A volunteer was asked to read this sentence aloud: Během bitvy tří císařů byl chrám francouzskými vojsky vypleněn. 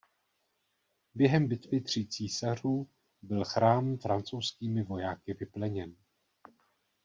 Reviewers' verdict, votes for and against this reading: rejected, 1, 2